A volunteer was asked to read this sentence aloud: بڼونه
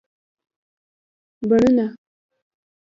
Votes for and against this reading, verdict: 2, 0, accepted